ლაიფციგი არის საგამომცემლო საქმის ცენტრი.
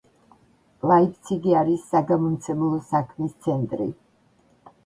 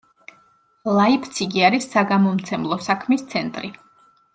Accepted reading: second